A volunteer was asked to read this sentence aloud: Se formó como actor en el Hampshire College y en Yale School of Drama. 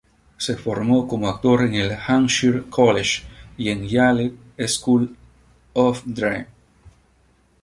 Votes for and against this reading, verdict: 0, 2, rejected